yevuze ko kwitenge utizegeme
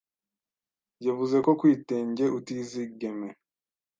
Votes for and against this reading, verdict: 0, 2, rejected